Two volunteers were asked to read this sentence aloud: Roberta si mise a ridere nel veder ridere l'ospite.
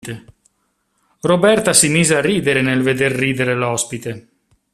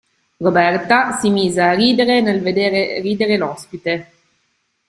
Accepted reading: first